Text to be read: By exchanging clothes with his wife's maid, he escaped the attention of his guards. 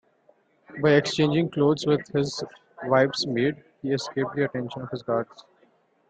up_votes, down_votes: 2, 1